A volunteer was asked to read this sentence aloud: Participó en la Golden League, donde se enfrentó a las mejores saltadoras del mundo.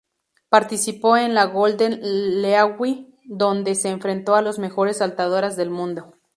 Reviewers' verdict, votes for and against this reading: rejected, 0, 2